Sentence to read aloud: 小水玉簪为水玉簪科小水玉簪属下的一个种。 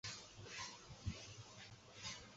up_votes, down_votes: 0, 7